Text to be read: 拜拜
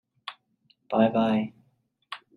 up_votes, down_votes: 2, 0